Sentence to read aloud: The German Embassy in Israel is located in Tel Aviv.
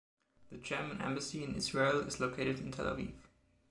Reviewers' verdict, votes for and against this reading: accepted, 2, 0